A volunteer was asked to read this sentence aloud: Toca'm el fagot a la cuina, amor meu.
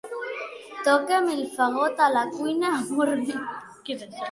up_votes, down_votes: 1, 2